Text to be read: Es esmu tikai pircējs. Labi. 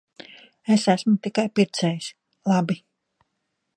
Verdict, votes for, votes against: accepted, 3, 0